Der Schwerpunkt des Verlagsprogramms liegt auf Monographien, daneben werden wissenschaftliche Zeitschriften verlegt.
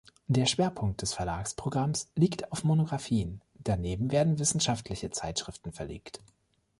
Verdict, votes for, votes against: accepted, 2, 0